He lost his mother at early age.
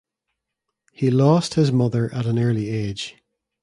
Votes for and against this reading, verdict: 0, 2, rejected